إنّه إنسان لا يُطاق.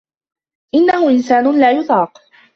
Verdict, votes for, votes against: accepted, 2, 1